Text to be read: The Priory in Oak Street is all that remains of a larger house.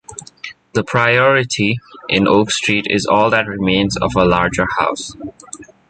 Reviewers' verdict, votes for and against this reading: rejected, 0, 2